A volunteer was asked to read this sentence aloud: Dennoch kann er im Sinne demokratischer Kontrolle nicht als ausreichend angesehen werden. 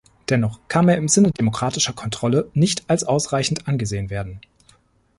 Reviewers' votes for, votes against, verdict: 2, 0, accepted